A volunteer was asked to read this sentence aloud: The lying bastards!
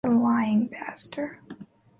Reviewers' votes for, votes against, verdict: 1, 2, rejected